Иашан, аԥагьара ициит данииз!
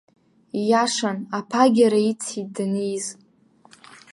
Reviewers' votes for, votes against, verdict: 2, 1, accepted